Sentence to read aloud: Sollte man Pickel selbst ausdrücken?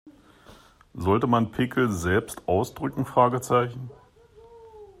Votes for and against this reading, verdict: 0, 2, rejected